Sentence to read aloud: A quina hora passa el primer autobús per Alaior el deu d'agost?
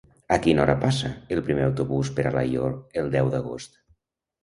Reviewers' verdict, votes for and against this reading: accepted, 2, 0